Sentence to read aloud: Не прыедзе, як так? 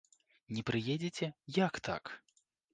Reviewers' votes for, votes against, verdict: 0, 2, rejected